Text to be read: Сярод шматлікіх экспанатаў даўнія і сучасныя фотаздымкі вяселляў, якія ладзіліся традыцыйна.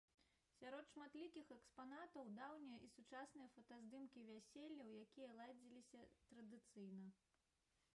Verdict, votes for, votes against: rejected, 0, 2